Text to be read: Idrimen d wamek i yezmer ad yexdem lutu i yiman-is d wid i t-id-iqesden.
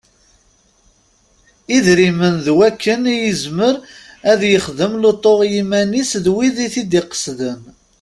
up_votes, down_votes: 0, 2